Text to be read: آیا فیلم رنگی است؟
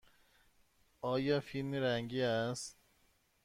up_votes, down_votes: 2, 0